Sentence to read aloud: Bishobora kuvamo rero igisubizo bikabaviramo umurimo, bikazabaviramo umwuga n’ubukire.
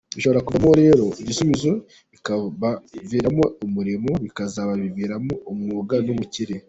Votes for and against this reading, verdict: 3, 1, accepted